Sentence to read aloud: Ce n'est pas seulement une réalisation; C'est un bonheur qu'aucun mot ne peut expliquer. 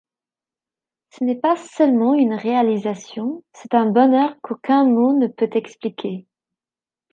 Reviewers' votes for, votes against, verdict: 2, 0, accepted